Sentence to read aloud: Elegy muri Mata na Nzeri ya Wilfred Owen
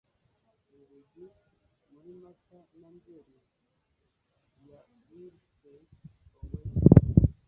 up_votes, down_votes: 1, 2